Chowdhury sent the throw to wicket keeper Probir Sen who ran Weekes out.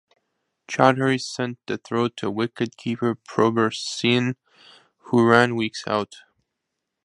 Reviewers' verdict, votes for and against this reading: rejected, 0, 2